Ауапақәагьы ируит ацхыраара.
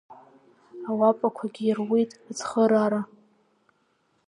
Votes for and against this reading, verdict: 3, 0, accepted